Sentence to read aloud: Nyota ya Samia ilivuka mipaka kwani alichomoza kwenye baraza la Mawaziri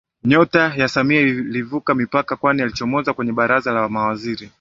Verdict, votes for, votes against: accepted, 8, 1